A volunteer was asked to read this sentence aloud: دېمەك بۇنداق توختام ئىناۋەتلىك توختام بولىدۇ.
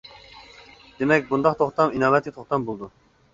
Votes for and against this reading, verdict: 2, 0, accepted